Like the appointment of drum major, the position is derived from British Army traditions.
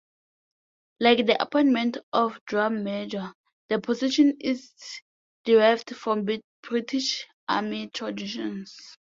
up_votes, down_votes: 0, 2